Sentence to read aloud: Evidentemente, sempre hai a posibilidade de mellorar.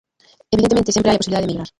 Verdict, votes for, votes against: rejected, 0, 2